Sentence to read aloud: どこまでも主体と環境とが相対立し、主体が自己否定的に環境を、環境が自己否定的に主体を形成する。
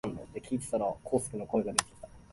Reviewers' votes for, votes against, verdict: 0, 2, rejected